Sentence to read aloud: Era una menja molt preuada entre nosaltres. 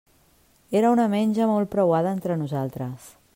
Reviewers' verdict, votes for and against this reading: accepted, 2, 0